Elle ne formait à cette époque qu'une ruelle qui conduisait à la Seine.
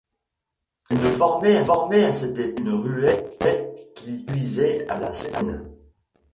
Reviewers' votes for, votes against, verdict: 0, 2, rejected